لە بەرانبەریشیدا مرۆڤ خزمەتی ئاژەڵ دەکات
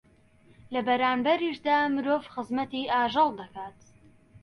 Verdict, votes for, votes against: accepted, 2, 0